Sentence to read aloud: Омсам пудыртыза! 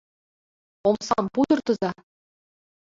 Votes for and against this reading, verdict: 2, 0, accepted